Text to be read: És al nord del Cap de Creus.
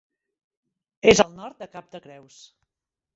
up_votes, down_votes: 0, 3